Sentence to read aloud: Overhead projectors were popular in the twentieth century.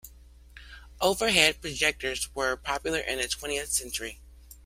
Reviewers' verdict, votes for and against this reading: rejected, 0, 2